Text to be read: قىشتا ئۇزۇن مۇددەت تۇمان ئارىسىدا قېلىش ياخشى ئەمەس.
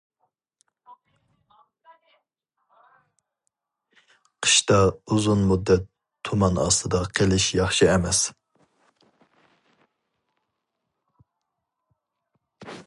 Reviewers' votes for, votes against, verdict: 0, 2, rejected